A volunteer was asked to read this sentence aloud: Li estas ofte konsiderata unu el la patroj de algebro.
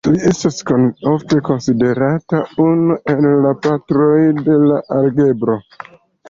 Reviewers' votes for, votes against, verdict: 2, 1, accepted